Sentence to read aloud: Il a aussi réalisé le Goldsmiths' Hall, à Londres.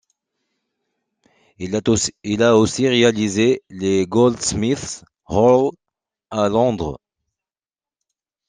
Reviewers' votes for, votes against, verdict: 0, 2, rejected